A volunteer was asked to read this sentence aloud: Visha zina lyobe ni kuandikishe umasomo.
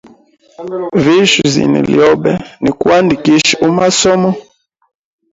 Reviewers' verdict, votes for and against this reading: rejected, 2, 3